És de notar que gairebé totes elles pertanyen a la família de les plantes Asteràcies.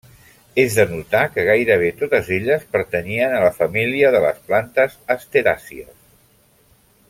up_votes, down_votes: 0, 2